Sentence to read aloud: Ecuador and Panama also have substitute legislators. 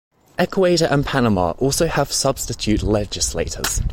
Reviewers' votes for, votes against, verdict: 1, 2, rejected